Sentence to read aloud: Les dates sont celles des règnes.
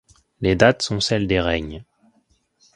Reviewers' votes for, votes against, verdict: 1, 2, rejected